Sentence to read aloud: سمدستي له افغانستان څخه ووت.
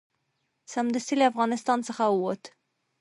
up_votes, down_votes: 2, 0